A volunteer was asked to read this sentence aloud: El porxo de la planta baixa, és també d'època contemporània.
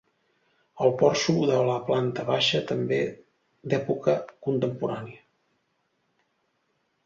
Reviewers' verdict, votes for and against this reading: rejected, 1, 2